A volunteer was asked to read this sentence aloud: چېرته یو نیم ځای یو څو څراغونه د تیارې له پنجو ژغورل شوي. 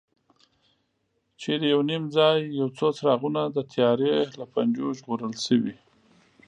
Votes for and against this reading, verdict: 2, 0, accepted